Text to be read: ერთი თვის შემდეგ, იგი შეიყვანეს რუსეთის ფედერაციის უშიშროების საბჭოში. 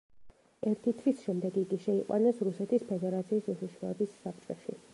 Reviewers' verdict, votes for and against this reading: rejected, 1, 2